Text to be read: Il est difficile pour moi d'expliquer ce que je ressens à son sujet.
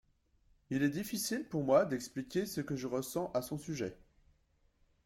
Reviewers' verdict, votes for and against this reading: accepted, 2, 0